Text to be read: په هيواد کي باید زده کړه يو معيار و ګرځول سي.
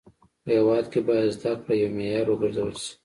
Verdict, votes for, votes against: accepted, 2, 0